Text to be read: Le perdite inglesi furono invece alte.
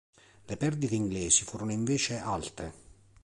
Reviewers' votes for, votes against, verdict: 2, 0, accepted